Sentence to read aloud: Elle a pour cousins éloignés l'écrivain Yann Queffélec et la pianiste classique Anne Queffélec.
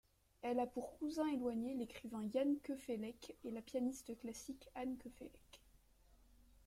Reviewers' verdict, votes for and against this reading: rejected, 0, 2